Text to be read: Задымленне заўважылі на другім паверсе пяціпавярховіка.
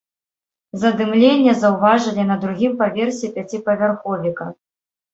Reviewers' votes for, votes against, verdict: 2, 0, accepted